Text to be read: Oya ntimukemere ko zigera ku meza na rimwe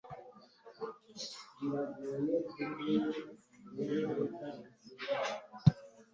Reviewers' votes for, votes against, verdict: 0, 2, rejected